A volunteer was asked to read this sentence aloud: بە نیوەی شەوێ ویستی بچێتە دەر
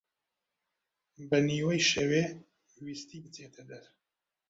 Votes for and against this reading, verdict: 2, 1, accepted